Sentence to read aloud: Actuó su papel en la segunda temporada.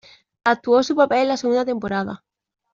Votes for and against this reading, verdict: 2, 0, accepted